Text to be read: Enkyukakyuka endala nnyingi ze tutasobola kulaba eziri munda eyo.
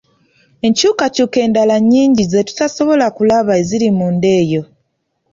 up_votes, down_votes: 2, 0